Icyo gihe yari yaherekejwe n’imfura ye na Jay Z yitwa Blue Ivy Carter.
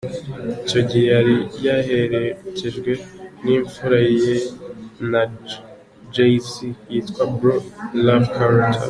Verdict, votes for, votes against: rejected, 0, 2